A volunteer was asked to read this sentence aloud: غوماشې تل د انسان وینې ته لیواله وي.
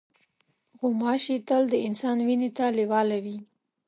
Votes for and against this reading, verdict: 2, 0, accepted